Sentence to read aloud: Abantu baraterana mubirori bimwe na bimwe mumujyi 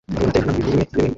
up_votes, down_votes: 0, 3